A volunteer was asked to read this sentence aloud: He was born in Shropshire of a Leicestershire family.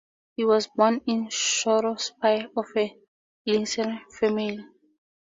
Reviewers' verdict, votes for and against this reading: rejected, 0, 4